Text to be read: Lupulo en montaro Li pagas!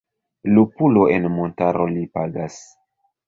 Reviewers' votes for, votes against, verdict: 2, 0, accepted